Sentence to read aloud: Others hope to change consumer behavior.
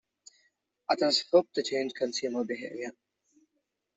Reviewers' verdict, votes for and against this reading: accepted, 2, 0